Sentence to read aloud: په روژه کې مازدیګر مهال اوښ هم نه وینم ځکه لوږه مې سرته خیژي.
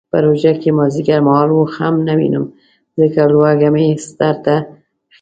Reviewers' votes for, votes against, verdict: 1, 2, rejected